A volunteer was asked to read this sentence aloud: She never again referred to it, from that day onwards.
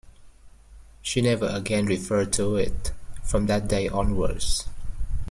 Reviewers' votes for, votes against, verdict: 2, 0, accepted